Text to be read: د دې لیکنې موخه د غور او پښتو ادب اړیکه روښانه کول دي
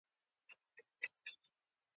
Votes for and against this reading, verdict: 2, 0, accepted